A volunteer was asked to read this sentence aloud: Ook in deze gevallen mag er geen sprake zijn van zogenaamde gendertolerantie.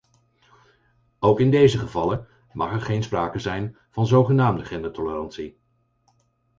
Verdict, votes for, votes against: accepted, 4, 0